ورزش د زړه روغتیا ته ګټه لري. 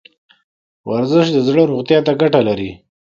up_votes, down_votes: 2, 0